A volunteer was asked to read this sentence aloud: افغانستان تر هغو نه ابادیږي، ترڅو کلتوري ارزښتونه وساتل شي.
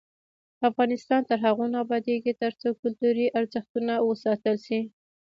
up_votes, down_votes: 2, 0